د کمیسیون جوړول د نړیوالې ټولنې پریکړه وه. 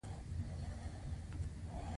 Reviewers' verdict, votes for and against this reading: accepted, 2, 0